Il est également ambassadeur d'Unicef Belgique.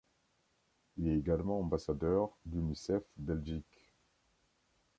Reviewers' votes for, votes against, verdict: 2, 0, accepted